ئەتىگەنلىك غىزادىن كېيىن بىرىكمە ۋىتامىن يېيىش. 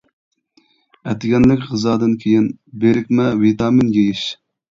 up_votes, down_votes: 3, 1